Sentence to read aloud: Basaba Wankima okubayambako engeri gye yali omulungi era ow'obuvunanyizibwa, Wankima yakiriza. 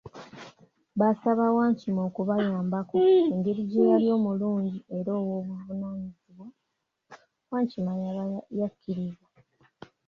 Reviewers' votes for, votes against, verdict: 0, 2, rejected